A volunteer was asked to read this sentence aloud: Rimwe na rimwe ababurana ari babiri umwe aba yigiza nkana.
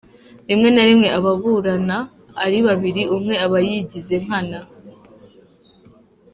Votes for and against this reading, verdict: 2, 1, accepted